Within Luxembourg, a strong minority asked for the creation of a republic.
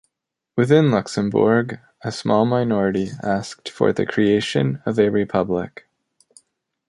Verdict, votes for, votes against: rejected, 1, 2